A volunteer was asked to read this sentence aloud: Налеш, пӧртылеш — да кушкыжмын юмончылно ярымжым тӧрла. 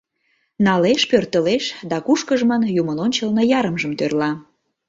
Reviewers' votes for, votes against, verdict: 1, 2, rejected